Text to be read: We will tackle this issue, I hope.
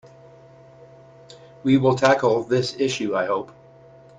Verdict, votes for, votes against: accepted, 2, 0